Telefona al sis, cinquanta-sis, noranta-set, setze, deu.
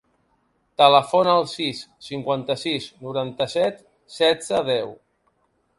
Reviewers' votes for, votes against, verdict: 2, 0, accepted